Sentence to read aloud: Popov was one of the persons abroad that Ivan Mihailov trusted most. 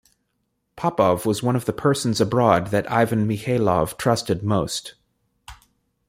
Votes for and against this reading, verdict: 2, 0, accepted